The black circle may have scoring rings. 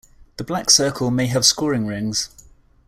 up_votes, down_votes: 2, 0